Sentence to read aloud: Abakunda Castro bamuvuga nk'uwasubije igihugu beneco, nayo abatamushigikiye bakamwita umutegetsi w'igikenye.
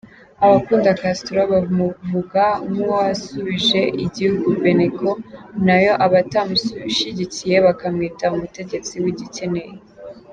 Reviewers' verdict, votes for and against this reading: rejected, 0, 2